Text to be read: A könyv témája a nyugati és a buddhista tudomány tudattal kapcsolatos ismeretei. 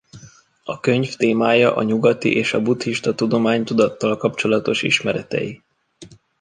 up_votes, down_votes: 2, 0